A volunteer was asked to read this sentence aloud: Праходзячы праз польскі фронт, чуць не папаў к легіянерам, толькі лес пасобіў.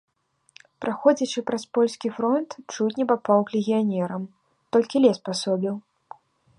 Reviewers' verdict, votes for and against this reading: accepted, 2, 0